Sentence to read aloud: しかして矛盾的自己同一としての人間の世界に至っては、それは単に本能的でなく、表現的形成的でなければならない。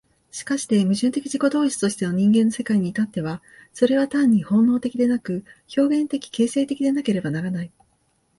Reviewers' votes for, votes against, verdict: 5, 2, accepted